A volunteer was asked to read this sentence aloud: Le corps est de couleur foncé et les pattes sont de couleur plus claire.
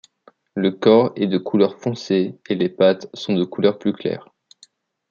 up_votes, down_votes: 2, 0